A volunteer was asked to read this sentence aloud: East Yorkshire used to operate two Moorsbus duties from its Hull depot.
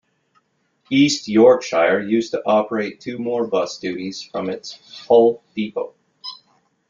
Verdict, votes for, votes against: rejected, 0, 2